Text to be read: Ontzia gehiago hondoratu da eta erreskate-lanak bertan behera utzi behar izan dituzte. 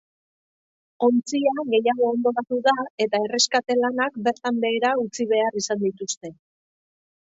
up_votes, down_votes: 2, 0